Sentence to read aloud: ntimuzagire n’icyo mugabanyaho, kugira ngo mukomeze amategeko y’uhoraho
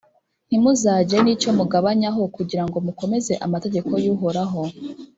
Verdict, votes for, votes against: accepted, 2, 1